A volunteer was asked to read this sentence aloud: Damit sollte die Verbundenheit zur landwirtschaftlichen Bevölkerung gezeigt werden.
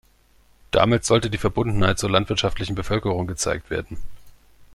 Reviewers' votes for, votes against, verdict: 2, 0, accepted